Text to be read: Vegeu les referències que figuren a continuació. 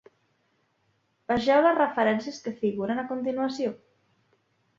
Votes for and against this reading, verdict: 2, 0, accepted